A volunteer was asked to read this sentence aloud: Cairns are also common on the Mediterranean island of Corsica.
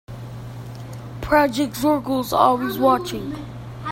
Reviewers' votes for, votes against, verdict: 0, 2, rejected